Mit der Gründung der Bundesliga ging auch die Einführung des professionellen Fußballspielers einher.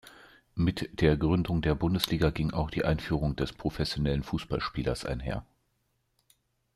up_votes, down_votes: 2, 0